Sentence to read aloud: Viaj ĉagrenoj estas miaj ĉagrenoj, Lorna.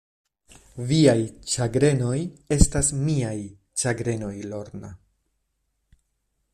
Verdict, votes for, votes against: accepted, 2, 0